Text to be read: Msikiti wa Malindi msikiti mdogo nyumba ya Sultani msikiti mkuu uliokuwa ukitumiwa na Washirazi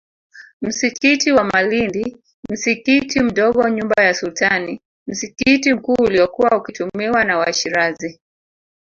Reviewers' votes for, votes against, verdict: 5, 8, rejected